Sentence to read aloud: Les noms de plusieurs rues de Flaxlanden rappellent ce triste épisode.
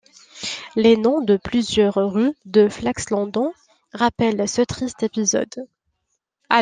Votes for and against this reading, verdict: 1, 2, rejected